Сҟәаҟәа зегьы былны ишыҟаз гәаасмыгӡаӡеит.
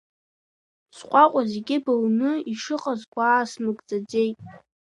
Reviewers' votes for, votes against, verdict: 2, 1, accepted